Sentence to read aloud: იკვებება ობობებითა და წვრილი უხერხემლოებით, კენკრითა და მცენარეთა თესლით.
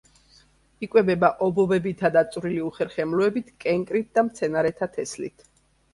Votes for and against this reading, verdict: 1, 2, rejected